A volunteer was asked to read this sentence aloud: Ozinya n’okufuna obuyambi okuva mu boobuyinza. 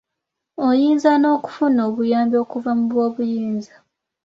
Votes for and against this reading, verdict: 2, 0, accepted